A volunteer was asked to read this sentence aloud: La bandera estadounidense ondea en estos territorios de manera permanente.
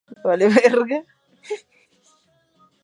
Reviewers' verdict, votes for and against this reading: rejected, 0, 2